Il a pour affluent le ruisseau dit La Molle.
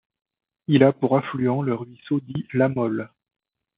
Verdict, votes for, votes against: accepted, 2, 0